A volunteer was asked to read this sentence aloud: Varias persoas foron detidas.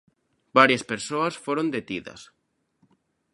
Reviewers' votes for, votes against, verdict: 2, 0, accepted